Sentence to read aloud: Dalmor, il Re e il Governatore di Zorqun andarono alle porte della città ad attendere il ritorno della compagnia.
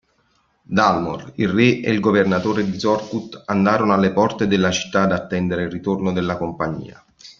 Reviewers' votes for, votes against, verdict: 0, 2, rejected